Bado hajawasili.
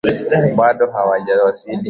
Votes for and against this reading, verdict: 0, 2, rejected